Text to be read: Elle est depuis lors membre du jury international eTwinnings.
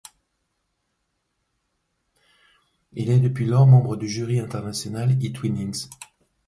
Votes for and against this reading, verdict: 2, 1, accepted